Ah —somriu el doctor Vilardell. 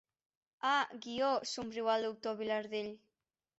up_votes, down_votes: 0, 2